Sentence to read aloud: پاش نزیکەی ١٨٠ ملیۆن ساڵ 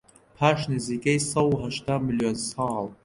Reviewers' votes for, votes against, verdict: 0, 2, rejected